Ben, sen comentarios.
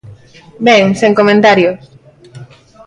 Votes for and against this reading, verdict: 1, 2, rejected